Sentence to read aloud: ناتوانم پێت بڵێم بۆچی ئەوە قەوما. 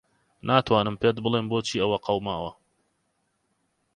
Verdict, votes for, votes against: rejected, 0, 4